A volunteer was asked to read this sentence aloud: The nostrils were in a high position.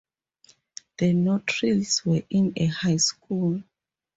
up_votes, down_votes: 0, 4